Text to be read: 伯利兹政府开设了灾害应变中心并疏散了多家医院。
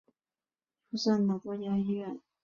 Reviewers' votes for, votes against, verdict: 0, 2, rejected